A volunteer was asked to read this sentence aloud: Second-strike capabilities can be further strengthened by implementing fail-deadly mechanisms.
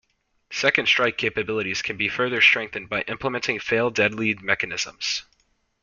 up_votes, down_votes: 2, 0